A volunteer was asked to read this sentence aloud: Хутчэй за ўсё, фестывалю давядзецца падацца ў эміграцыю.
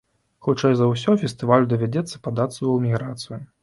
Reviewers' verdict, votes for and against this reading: accepted, 2, 0